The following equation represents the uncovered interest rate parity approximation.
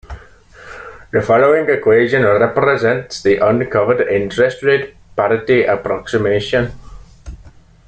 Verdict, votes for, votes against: accepted, 2, 0